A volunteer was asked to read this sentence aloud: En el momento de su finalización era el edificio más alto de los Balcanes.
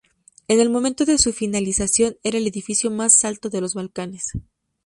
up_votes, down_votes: 4, 0